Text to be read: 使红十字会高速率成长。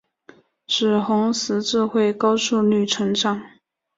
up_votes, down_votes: 4, 0